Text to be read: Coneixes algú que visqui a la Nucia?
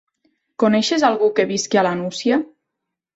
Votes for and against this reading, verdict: 2, 0, accepted